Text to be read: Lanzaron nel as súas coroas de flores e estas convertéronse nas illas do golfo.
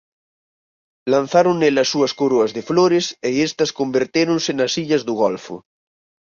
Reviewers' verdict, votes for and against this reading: accepted, 4, 0